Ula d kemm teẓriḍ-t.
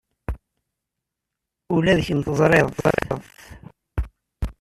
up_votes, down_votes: 1, 2